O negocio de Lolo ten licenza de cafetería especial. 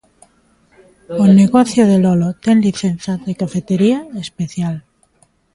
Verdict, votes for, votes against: accepted, 2, 0